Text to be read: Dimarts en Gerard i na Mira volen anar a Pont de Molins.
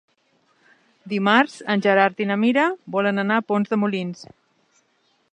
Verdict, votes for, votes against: accepted, 2, 1